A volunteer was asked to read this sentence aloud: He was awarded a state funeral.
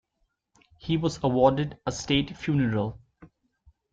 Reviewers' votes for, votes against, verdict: 2, 0, accepted